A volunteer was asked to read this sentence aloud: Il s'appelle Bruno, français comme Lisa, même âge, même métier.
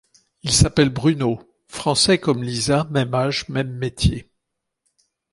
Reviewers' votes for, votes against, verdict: 2, 0, accepted